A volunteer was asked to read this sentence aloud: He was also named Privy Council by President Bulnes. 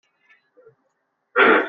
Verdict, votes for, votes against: rejected, 0, 2